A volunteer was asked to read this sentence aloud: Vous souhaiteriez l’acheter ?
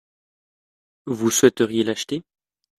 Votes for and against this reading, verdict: 2, 0, accepted